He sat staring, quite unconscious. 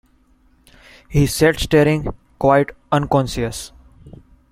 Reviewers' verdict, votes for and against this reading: accepted, 2, 0